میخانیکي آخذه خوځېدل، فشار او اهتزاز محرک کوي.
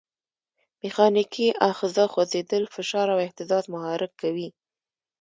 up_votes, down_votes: 2, 0